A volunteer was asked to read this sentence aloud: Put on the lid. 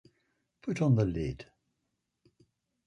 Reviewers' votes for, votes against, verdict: 4, 0, accepted